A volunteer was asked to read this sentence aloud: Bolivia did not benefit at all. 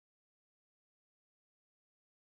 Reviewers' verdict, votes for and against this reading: rejected, 0, 2